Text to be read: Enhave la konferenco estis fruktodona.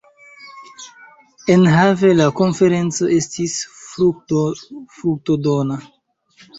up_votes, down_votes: 1, 2